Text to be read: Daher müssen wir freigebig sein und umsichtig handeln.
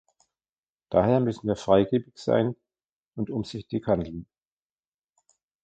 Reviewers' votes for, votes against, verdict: 2, 1, accepted